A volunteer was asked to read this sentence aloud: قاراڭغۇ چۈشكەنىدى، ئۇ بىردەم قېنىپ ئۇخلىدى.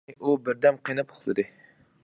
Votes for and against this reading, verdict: 0, 2, rejected